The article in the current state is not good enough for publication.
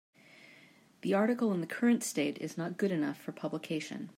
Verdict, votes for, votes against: accepted, 3, 0